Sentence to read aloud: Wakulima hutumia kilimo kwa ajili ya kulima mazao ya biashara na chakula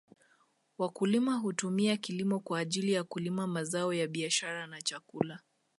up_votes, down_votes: 2, 0